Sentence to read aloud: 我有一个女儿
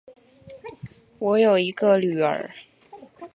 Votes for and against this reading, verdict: 2, 0, accepted